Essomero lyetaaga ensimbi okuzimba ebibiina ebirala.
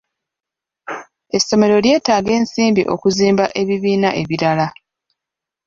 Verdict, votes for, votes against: accepted, 2, 0